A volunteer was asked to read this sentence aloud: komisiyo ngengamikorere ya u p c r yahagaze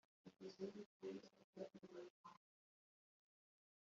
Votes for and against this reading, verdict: 1, 2, rejected